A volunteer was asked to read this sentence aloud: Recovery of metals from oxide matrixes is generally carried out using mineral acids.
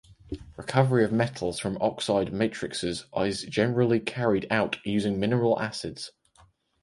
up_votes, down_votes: 2, 2